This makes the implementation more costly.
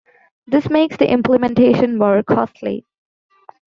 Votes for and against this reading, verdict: 2, 0, accepted